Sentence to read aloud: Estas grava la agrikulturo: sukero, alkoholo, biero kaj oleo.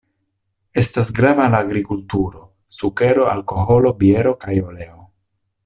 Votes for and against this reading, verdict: 2, 0, accepted